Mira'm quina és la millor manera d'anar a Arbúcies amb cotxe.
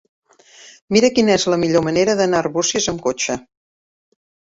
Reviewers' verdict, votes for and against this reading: rejected, 8, 13